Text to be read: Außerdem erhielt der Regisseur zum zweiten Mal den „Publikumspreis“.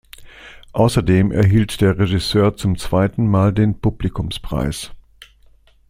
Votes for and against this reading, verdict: 2, 0, accepted